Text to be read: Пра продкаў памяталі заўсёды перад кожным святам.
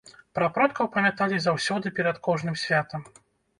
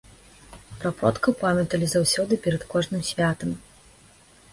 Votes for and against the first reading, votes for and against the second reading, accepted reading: 0, 2, 2, 0, second